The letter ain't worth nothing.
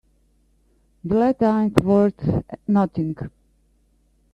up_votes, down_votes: 2, 1